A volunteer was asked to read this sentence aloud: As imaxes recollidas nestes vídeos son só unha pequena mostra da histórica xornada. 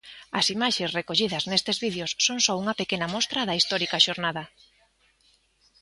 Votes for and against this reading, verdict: 2, 0, accepted